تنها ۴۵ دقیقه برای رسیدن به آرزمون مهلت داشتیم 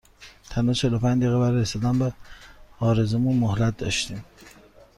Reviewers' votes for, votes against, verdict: 0, 2, rejected